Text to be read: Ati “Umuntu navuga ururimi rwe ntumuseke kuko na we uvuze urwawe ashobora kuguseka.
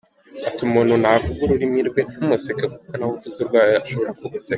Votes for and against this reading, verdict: 5, 1, accepted